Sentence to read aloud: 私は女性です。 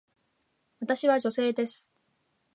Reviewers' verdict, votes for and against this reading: accepted, 2, 0